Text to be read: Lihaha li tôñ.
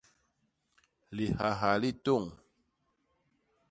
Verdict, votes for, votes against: accepted, 2, 0